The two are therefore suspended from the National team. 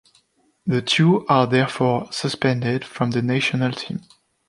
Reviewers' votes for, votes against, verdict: 2, 0, accepted